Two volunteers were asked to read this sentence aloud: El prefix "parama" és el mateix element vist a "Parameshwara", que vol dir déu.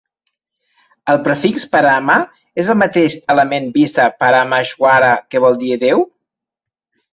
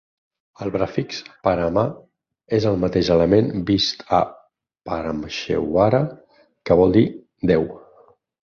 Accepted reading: second